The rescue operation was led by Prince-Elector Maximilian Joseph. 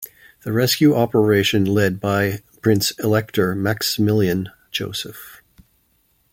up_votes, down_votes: 1, 2